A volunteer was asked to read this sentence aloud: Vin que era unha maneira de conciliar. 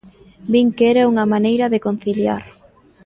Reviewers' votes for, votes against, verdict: 1, 2, rejected